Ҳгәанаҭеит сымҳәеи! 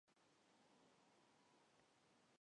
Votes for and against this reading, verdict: 1, 2, rejected